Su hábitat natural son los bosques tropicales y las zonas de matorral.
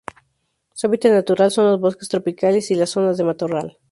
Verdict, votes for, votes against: accepted, 2, 0